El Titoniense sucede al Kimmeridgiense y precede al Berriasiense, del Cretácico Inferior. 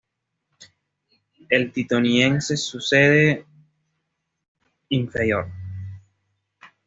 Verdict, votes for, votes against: rejected, 1, 2